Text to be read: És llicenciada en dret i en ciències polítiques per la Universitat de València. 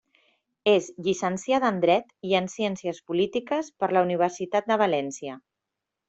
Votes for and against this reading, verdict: 2, 0, accepted